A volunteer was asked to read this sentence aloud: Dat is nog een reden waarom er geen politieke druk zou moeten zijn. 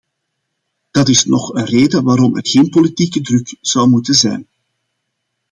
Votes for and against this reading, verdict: 2, 0, accepted